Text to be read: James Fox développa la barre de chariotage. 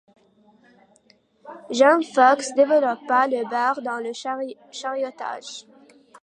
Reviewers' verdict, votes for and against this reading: rejected, 1, 2